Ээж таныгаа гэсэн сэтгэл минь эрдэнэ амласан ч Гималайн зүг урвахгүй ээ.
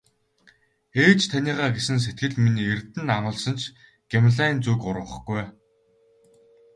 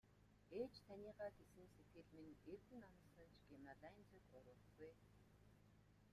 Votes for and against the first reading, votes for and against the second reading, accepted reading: 2, 0, 1, 2, first